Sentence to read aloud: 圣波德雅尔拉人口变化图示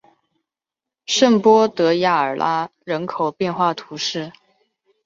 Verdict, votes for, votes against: rejected, 0, 2